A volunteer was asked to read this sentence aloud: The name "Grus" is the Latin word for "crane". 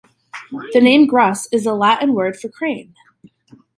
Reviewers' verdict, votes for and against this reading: accepted, 2, 0